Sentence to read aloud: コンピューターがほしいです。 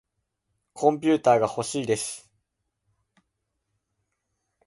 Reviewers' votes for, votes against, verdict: 3, 0, accepted